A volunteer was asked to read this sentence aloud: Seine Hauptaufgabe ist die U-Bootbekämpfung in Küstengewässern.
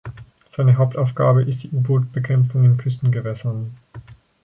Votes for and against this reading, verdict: 4, 0, accepted